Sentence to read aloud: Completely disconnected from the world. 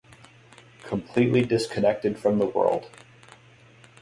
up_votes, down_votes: 3, 3